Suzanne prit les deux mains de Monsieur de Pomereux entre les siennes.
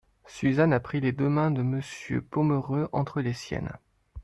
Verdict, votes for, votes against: rejected, 0, 2